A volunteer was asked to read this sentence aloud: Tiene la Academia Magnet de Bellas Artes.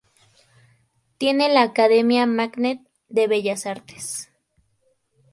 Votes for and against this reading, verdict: 0, 2, rejected